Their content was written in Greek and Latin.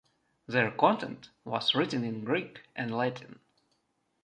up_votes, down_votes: 2, 0